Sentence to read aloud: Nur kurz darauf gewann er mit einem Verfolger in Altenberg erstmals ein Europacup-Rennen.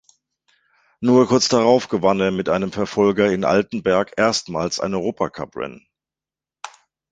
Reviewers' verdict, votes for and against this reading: rejected, 1, 2